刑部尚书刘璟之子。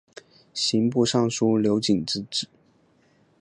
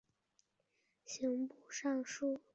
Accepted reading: first